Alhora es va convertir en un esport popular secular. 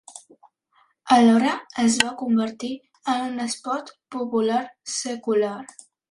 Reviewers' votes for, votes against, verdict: 3, 0, accepted